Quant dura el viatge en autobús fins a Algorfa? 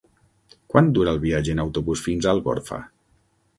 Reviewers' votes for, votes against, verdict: 9, 0, accepted